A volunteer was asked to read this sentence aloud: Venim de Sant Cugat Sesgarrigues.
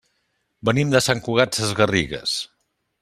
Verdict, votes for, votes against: accepted, 3, 0